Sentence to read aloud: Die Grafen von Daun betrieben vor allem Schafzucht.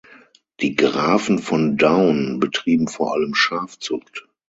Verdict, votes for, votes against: accepted, 6, 0